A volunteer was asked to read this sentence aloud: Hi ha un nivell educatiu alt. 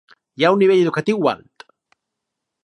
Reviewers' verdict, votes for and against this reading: rejected, 2, 2